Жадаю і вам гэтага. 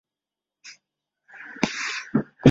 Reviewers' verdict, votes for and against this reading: rejected, 0, 2